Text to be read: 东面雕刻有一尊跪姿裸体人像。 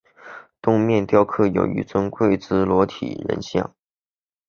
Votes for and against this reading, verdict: 5, 0, accepted